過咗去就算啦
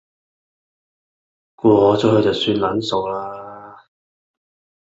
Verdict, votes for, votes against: rejected, 1, 2